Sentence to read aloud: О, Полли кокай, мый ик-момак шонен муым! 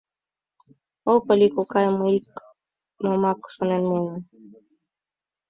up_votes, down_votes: 1, 2